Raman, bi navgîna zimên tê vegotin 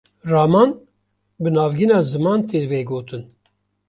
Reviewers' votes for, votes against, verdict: 0, 2, rejected